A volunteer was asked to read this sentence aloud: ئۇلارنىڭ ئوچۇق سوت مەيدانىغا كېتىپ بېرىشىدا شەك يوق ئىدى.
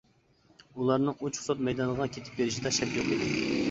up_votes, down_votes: 0, 2